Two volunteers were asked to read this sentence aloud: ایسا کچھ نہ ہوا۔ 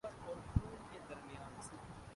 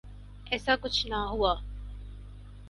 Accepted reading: second